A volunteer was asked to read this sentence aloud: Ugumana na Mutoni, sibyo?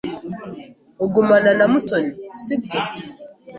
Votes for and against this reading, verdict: 3, 0, accepted